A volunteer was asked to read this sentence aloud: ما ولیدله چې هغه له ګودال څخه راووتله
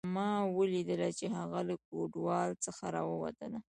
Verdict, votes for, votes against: accepted, 2, 1